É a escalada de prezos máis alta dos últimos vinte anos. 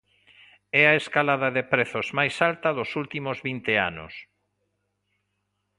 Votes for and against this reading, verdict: 2, 0, accepted